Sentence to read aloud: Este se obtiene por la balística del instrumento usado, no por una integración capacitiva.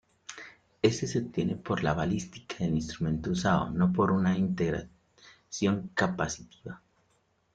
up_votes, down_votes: 1, 2